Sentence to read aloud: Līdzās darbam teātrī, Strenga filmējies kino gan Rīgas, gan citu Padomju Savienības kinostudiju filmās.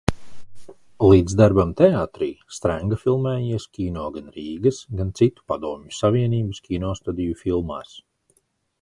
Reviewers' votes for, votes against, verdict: 0, 2, rejected